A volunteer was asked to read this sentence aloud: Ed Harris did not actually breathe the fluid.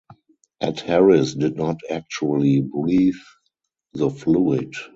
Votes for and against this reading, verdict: 2, 0, accepted